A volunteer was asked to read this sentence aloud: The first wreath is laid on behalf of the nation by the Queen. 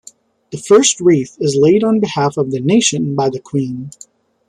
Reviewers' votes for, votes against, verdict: 2, 0, accepted